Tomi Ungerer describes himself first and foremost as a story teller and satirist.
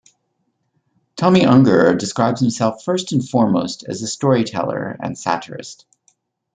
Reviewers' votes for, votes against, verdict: 2, 0, accepted